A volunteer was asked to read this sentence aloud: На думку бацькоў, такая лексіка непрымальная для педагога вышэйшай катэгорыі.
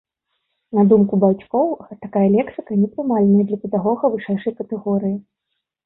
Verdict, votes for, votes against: accepted, 2, 0